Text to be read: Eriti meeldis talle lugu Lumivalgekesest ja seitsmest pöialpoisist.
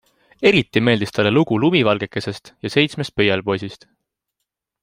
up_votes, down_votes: 2, 0